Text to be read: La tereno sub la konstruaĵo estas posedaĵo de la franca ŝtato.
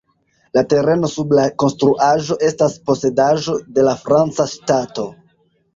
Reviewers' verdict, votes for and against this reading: rejected, 1, 2